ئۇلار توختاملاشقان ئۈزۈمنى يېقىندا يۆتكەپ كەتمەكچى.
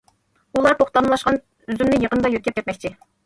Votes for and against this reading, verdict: 1, 2, rejected